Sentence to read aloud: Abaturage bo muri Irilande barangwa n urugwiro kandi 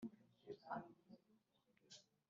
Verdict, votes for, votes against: rejected, 1, 2